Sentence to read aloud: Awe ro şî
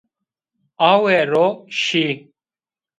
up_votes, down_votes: 1, 2